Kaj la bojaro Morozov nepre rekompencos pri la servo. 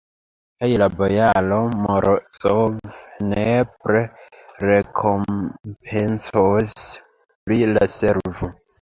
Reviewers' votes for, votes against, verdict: 2, 1, accepted